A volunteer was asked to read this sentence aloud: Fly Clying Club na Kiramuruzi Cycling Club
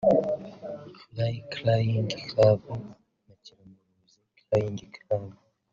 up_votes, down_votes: 1, 2